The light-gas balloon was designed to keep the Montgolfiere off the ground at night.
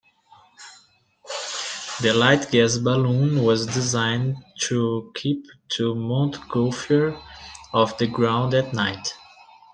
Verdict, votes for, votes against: accepted, 2, 0